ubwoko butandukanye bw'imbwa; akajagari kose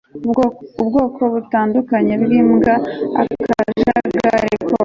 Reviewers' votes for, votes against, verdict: 1, 2, rejected